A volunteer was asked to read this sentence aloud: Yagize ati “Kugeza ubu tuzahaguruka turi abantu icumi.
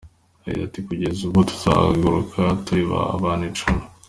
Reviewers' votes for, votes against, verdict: 2, 0, accepted